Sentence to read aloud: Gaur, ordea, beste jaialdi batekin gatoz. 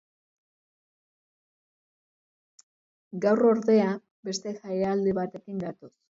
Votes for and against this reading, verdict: 1, 2, rejected